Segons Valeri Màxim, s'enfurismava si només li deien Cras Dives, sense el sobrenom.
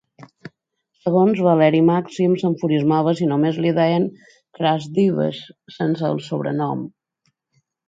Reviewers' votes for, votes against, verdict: 2, 0, accepted